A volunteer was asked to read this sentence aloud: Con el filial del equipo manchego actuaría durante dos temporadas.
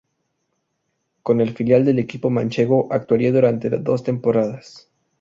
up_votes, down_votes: 0, 2